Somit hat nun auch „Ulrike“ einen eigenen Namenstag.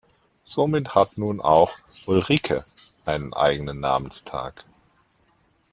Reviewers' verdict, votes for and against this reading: accepted, 2, 0